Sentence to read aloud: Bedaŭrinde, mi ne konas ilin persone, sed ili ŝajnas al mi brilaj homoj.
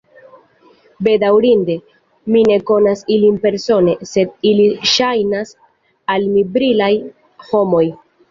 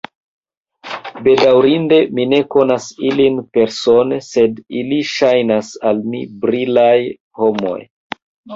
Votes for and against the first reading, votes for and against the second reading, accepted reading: 2, 0, 1, 2, first